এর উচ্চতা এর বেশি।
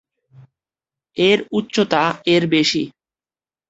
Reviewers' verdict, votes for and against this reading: accepted, 3, 0